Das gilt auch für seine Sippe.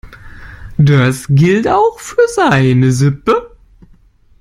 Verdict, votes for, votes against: rejected, 1, 2